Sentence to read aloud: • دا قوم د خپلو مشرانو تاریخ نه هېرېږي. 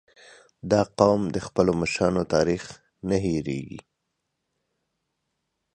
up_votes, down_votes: 2, 0